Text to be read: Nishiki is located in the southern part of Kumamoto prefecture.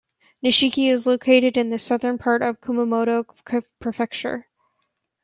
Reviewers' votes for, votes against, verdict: 0, 2, rejected